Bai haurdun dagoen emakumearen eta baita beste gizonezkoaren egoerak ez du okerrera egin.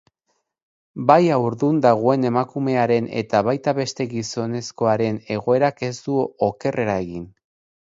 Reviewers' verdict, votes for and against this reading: rejected, 2, 2